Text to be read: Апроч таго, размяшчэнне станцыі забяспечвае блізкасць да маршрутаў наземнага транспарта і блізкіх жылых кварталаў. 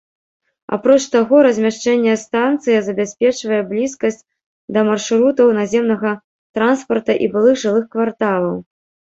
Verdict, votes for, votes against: rejected, 0, 2